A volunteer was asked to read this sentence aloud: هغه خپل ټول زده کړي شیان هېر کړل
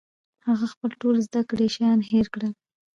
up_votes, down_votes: 2, 0